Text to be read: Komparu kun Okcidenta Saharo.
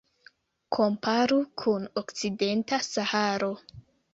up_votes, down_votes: 2, 0